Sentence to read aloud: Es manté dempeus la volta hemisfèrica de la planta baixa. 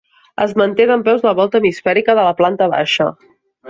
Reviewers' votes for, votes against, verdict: 4, 0, accepted